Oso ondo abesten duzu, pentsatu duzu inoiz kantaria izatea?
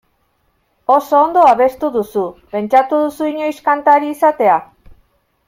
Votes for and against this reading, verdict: 1, 2, rejected